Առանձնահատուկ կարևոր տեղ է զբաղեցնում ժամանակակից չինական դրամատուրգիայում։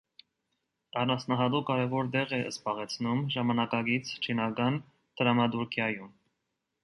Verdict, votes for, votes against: accepted, 2, 0